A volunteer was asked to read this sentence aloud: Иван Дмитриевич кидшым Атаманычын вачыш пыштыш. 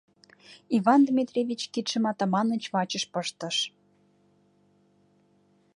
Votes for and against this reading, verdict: 1, 2, rejected